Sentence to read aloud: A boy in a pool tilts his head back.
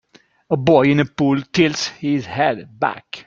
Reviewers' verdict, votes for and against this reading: accepted, 2, 1